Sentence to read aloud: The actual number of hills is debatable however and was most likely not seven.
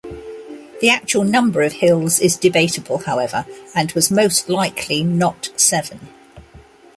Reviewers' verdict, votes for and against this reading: accepted, 2, 0